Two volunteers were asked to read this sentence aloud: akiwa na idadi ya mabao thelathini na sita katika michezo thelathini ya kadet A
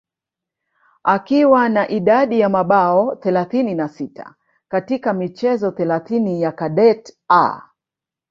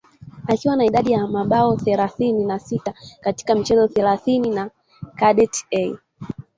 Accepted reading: first